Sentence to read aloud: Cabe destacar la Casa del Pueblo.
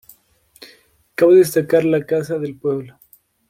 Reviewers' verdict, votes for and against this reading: accepted, 2, 0